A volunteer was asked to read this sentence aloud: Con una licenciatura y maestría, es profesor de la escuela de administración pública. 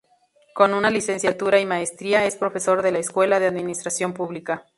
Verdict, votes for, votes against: rejected, 2, 2